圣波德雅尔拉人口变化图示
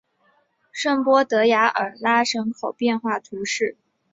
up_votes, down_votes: 2, 0